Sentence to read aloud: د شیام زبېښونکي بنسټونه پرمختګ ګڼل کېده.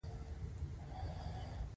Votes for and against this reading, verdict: 2, 0, accepted